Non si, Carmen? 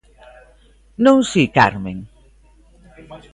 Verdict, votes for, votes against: rejected, 1, 2